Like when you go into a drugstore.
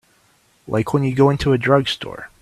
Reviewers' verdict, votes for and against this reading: accepted, 3, 0